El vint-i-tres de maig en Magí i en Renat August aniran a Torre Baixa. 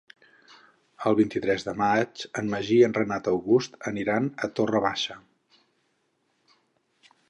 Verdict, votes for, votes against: accepted, 4, 0